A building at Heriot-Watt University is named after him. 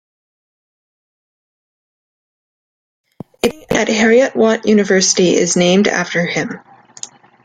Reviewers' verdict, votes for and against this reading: rejected, 1, 2